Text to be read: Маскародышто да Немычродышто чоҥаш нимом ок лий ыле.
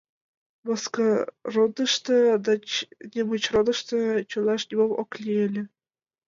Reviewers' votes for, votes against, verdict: 1, 2, rejected